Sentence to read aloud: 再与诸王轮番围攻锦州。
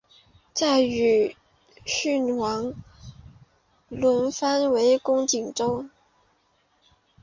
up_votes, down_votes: 0, 2